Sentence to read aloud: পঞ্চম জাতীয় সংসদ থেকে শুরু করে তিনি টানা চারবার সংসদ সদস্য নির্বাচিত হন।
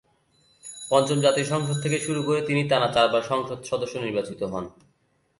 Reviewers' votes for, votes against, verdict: 2, 0, accepted